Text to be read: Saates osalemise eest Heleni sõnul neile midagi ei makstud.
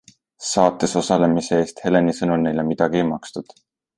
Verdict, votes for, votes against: accepted, 2, 0